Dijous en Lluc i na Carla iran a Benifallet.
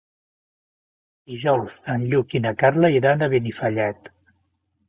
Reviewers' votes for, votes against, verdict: 2, 0, accepted